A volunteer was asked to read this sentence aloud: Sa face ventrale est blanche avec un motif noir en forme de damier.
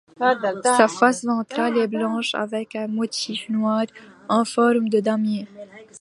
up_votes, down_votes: 2, 1